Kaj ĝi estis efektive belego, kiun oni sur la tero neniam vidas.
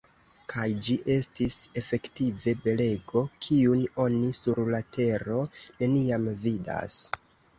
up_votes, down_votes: 2, 0